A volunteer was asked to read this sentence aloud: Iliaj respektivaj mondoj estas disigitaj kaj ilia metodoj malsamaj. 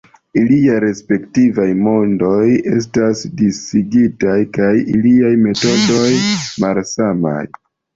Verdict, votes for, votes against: rejected, 0, 2